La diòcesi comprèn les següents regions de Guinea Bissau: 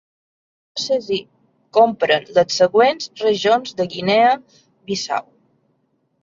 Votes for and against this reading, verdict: 1, 2, rejected